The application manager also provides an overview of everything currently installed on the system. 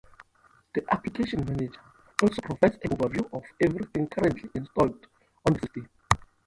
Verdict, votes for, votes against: rejected, 0, 2